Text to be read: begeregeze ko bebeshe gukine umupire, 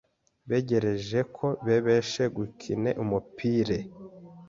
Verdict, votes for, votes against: rejected, 0, 2